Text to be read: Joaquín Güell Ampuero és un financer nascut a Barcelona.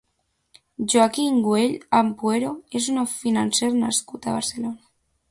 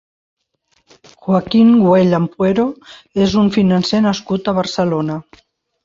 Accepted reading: second